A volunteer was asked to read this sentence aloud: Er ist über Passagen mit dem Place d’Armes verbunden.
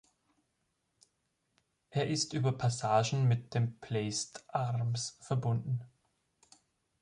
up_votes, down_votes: 1, 3